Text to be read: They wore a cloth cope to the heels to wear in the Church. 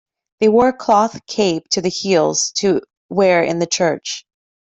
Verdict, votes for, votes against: rejected, 1, 2